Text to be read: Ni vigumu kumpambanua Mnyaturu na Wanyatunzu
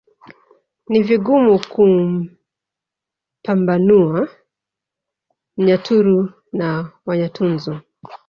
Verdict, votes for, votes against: rejected, 0, 2